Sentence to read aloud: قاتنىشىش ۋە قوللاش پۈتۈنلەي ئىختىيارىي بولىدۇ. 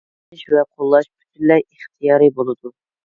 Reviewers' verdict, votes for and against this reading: rejected, 0, 2